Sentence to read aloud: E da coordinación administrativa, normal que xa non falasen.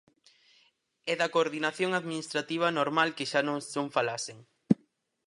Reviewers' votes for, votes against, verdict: 0, 4, rejected